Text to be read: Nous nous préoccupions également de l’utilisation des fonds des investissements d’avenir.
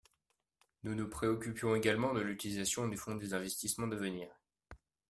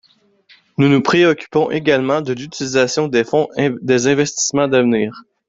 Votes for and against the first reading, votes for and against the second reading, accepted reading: 2, 0, 0, 3, first